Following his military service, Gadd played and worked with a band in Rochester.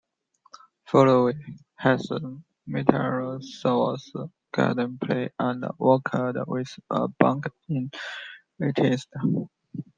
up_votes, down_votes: 0, 2